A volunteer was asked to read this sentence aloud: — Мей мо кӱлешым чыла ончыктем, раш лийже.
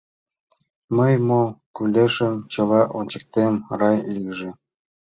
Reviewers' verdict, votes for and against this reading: accepted, 2, 1